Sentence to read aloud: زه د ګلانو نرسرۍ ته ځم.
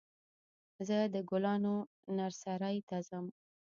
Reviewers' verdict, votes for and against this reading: rejected, 0, 2